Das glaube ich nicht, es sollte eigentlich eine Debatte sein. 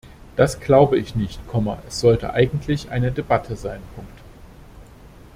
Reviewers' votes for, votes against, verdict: 0, 2, rejected